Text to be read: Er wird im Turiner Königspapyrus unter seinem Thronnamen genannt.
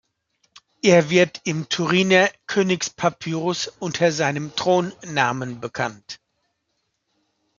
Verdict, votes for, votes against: rejected, 1, 2